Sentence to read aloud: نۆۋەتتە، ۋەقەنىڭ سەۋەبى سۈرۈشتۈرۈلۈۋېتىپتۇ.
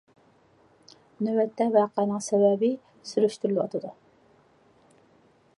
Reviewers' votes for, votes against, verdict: 0, 2, rejected